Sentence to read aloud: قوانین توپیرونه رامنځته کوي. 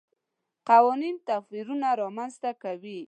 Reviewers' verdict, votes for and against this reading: accepted, 2, 0